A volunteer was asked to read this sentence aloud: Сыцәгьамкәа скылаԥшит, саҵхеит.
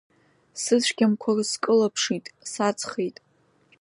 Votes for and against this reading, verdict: 2, 0, accepted